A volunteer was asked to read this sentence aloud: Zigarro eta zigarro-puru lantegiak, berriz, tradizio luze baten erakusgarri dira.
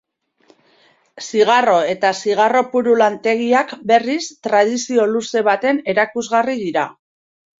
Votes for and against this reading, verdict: 2, 0, accepted